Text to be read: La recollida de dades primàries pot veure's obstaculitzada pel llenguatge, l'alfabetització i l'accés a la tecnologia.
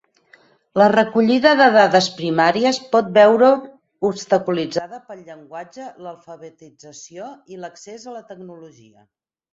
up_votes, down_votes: 0, 8